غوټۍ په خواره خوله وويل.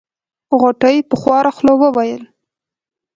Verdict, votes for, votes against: accepted, 2, 0